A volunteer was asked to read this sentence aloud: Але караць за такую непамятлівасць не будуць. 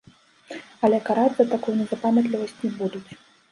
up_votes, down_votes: 1, 2